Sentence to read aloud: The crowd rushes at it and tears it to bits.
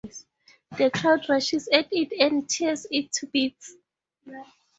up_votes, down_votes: 0, 2